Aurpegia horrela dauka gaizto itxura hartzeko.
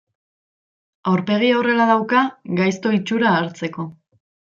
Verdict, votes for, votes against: rejected, 1, 2